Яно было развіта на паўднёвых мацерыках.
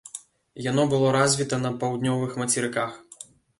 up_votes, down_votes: 2, 0